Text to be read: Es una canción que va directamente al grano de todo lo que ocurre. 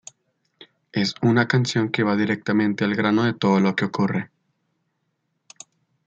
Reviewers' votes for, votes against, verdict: 2, 0, accepted